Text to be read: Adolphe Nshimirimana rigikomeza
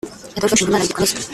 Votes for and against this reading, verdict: 0, 2, rejected